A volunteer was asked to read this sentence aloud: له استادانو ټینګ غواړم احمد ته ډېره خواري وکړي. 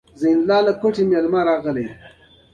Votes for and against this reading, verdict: 0, 2, rejected